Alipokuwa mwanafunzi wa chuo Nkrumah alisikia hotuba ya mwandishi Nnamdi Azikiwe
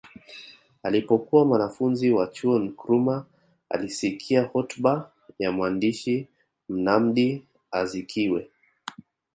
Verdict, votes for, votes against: accepted, 2, 0